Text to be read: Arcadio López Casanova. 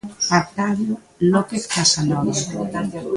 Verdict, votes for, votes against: accepted, 2, 0